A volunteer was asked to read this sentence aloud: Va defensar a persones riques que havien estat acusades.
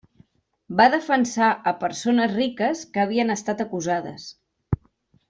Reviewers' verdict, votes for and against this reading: accepted, 3, 0